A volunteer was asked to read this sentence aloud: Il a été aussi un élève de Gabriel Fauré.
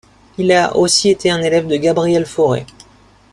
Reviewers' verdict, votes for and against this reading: rejected, 1, 2